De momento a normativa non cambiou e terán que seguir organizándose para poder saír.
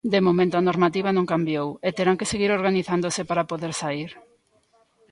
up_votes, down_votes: 2, 0